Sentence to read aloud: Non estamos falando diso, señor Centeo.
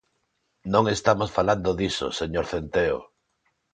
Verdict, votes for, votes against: accepted, 2, 0